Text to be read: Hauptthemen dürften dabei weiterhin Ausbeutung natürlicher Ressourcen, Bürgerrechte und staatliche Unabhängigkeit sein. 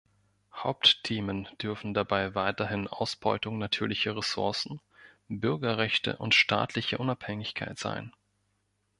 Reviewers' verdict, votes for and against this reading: rejected, 0, 2